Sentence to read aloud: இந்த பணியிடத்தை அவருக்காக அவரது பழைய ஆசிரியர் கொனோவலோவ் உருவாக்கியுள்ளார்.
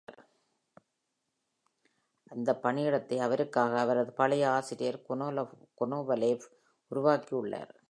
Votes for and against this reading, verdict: 0, 2, rejected